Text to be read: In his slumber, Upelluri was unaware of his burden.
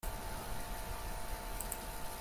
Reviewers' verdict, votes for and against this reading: rejected, 0, 2